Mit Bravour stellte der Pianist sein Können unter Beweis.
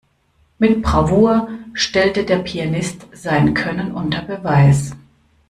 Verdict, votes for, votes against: accepted, 2, 0